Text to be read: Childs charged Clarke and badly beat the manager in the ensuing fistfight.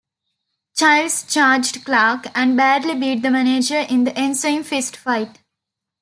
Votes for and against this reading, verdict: 2, 0, accepted